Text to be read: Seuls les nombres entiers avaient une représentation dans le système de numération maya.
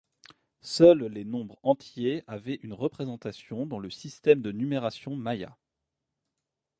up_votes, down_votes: 2, 0